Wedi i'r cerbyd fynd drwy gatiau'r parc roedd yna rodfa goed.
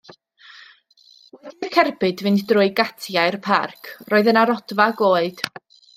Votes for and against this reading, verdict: 0, 2, rejected